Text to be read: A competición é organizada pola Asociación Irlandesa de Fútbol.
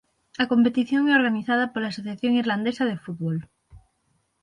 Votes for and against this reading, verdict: 6, 0, accepted